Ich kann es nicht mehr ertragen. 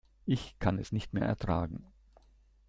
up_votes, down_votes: 2, 0